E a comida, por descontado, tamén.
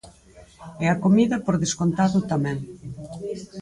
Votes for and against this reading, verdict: 2, 4, rejected